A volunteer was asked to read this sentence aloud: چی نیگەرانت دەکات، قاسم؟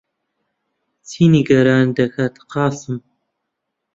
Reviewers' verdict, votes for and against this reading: accepted, 2, 0